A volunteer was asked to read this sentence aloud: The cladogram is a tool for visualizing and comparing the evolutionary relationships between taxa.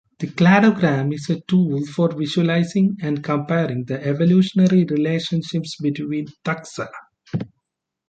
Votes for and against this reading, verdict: 2, 0, accepted